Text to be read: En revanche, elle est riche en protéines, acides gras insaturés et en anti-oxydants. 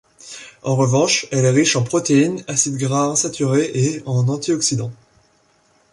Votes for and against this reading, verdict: 2, 0, accepted